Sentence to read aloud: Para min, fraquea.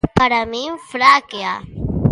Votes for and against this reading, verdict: 0, 2, rejected